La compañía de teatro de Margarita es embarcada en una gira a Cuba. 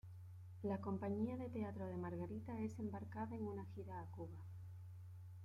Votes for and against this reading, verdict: 2, 1, accepted